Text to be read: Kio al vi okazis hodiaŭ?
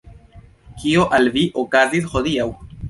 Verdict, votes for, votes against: rejected, 0, 2